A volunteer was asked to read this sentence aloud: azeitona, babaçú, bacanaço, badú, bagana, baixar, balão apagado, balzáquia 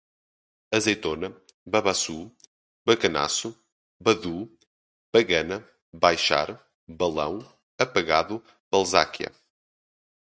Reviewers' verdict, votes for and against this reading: accepted, 2, 0